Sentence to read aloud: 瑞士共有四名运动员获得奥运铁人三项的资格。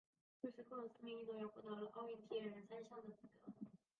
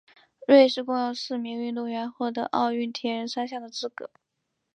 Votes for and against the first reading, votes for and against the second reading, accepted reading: 1, 4, 2, 1, second